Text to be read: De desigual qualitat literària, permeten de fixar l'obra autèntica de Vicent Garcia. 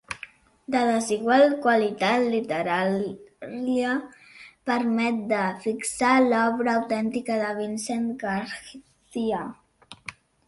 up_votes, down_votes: 0, 2